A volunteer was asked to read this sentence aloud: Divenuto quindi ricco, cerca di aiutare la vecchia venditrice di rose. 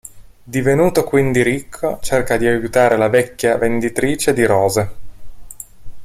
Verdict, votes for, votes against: rejected, 1, 2